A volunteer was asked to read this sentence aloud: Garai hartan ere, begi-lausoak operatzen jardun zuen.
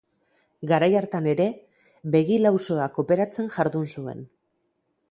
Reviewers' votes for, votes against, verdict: 0, 2, rejected